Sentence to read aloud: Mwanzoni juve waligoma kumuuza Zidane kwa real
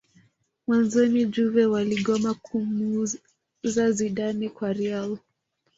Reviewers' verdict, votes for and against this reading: rejected, 1, 2